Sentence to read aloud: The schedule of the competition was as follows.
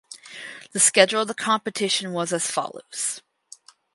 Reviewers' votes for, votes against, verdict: 4, 0, accepted